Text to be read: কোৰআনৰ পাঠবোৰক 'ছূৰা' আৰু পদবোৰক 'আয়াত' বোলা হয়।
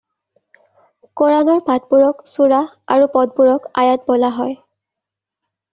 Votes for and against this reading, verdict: 2, 0, accepted